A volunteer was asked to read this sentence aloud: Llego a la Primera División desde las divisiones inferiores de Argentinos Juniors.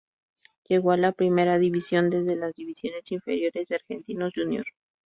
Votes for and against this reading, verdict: 2, 0, accepted